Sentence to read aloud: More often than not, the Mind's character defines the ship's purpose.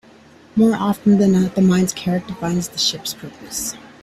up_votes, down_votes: 1, 2